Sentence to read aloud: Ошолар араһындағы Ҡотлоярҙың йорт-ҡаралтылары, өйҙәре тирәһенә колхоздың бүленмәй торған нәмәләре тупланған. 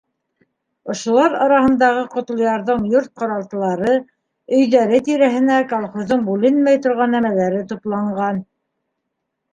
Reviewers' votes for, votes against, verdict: 2, 0, accepted